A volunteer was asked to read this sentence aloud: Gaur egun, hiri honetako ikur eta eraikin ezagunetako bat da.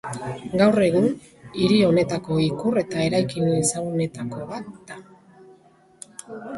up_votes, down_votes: 4, 0